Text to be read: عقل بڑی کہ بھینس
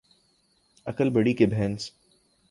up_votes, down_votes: 2, 0